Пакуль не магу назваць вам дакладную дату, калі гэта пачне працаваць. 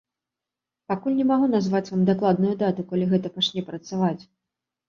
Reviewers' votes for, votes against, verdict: 2, 0, accepted